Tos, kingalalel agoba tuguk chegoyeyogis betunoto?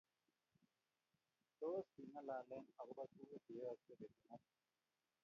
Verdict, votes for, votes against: rejected, 0, 2